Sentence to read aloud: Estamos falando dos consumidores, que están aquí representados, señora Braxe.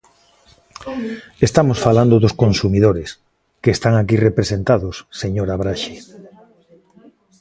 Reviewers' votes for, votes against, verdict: 0, 2, rejected